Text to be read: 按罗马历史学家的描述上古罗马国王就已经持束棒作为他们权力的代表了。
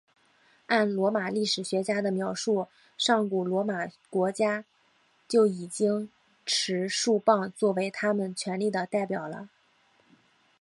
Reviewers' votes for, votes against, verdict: 1, 2, rejected